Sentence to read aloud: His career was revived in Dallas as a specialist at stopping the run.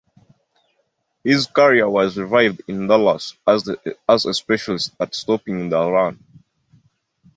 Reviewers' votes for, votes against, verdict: 2, 0, accepted